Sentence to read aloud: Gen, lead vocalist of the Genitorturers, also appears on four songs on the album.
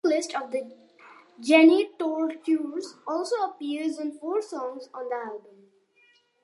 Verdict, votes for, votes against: rejected, 1, 2